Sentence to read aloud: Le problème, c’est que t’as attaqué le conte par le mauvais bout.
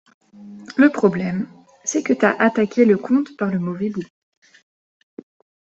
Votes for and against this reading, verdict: 2, 0, accepted